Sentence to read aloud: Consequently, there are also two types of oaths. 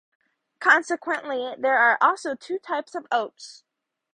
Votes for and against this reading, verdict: 2, 0, accepted